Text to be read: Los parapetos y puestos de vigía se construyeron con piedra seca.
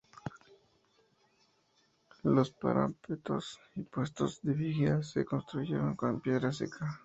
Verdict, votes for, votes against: rejected, 0, 2